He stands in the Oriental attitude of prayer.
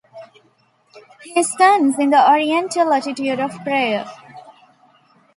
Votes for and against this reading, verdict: 2, 0, accepted